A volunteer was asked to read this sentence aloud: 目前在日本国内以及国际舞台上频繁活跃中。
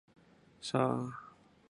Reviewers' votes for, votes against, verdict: 0, 5, rejected